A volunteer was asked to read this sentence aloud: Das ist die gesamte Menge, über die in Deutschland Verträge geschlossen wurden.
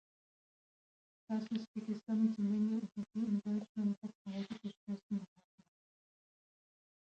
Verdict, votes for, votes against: rejected, 0, 2